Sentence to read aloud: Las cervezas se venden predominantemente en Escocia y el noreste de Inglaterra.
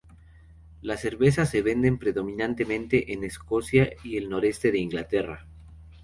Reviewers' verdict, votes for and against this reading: accepted, 2, 0